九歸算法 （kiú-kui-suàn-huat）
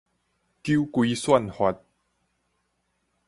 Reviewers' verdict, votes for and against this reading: rejected, 2, 2